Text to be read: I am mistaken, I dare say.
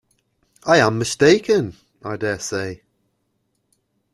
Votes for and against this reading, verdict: 2, 0, accepted